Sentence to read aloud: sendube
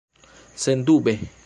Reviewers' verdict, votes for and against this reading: accepted, 2, 1